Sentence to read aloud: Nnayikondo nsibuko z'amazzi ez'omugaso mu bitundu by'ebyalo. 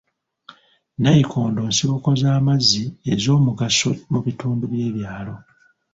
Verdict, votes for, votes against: rejected, 0, 2